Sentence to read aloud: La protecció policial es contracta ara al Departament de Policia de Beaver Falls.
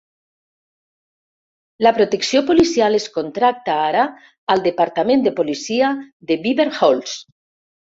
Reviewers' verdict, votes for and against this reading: rejected, 1, 2